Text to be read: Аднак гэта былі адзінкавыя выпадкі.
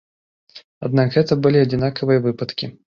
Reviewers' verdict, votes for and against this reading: rejected, 0, 2